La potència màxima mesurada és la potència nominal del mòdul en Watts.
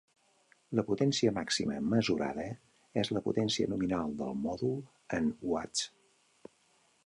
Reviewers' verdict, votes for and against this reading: rejected, 0, 2